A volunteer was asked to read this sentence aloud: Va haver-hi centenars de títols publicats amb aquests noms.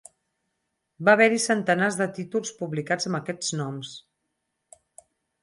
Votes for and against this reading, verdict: 4, 0, accepted